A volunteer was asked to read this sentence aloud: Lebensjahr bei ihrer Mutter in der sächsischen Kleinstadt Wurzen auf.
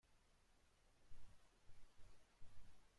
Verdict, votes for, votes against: rejected, 0, 2